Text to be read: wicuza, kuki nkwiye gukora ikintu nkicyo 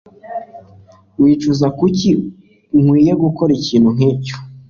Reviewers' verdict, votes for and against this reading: accepted, 2, 0